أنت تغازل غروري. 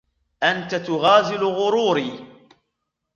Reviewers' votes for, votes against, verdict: 2, 1, accepted